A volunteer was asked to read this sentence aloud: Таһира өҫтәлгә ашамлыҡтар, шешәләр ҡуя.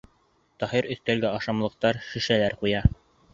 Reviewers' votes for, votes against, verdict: 1, 2, rejected